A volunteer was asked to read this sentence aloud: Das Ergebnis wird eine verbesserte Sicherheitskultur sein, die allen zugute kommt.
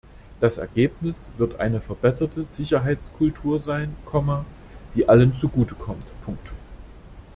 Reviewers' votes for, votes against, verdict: 0, 2, rejected